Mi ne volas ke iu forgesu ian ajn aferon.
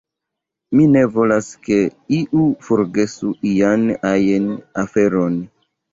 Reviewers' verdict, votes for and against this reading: accepted, 2, 1